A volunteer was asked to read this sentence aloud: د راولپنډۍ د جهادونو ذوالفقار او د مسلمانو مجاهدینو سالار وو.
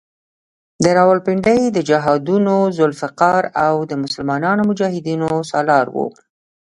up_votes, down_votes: 0, 2